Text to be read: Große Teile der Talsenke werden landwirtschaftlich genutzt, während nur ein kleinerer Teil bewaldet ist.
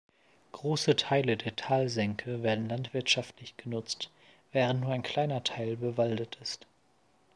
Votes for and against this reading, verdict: 0, 2, rejected